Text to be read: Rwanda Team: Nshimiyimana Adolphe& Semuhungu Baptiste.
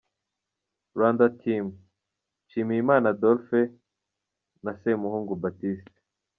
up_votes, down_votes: 2, 0